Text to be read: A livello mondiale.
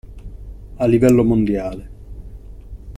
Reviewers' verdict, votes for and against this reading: accepted, 2, 0